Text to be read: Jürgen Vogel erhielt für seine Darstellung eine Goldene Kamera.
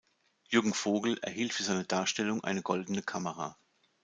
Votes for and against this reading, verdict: 2, 0, accepted